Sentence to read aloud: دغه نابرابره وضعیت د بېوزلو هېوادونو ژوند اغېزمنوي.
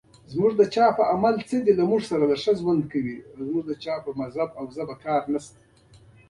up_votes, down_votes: 2, 0